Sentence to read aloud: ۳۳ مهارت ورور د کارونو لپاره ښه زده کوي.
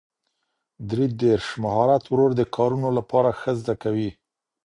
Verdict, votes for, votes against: rejected, 0, 2